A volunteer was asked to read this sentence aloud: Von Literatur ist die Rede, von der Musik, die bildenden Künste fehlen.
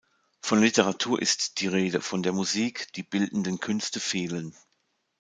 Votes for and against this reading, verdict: 2, 0, accepted